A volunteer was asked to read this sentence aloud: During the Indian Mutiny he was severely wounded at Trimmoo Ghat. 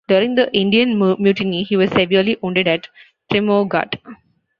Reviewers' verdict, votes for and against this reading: rejected, 1, 3